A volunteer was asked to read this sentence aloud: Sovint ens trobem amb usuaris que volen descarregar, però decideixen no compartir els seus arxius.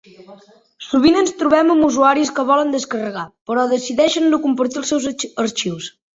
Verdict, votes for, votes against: rejected, 0, 3